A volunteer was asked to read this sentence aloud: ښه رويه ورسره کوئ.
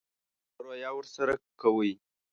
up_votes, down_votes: 1, 2